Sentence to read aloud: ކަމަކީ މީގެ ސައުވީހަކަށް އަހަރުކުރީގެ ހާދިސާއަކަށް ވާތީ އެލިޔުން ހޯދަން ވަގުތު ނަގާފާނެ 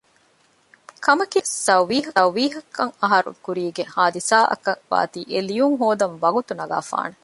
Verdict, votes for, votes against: rejected, 0, 2